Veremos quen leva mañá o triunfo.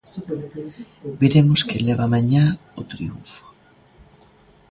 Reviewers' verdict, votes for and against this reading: rejected, 1, 2